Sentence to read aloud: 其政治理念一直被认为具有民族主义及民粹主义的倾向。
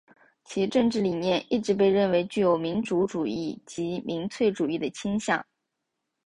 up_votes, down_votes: 2, 0